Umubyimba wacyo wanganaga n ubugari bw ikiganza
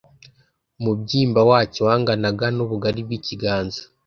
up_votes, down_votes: 2, 0